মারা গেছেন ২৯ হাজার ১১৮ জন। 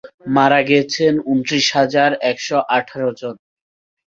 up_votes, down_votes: 0, 2